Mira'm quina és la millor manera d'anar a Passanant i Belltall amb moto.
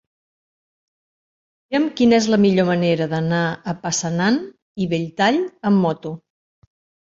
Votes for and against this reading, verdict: 1, 2, rejected